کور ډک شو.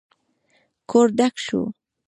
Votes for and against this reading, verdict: 1, 2, rejected